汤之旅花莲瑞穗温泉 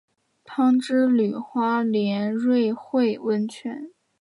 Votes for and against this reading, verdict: 2, 0, accepted